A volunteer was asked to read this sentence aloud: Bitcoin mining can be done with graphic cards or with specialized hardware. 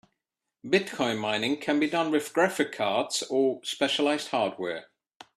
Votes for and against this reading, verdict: 3, 2, accepted